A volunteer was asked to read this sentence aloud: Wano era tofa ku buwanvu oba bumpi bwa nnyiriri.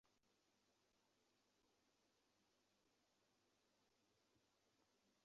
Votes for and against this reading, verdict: 0, 2, rejected